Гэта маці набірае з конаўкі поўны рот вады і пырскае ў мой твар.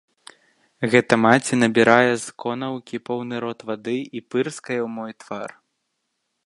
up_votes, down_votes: 2, 0